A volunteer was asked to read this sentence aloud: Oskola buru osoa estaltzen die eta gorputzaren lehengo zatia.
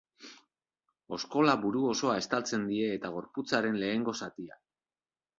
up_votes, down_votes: 2, 0